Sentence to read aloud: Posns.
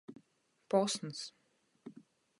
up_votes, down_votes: 8, 0